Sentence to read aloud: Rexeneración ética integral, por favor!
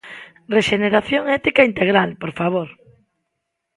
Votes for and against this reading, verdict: 2, 0, accepted